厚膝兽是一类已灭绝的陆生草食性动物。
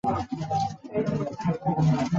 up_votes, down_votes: 2, 6